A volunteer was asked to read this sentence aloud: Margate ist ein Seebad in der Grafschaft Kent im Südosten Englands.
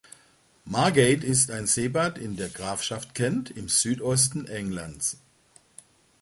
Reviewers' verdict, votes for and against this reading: accepted, 2, 0